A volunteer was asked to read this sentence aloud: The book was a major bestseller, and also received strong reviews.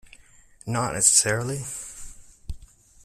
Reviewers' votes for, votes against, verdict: 0, 2, rejected